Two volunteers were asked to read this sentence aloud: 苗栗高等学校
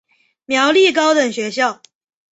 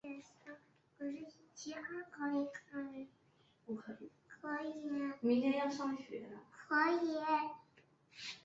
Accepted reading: first